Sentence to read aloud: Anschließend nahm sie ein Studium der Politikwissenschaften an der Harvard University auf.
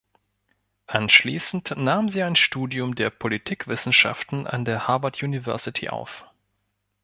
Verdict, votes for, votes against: accepted, 2, 0